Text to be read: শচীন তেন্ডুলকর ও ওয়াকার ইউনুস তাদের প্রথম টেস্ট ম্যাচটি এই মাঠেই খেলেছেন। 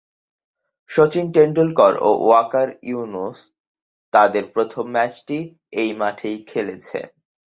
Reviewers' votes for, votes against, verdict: 2, 2, rejected